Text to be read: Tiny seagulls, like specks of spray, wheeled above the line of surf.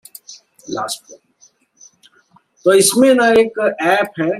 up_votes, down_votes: 0, 2